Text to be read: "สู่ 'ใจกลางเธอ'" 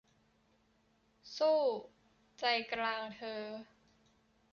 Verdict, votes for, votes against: rejected, 0, 2